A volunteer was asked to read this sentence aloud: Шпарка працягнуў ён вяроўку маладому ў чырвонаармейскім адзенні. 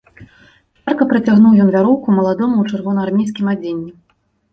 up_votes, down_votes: 0, 2